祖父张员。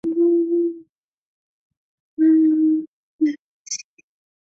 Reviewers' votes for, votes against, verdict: 1, 2, rejected